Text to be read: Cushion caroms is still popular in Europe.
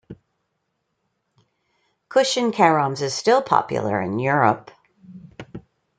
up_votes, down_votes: 2, 0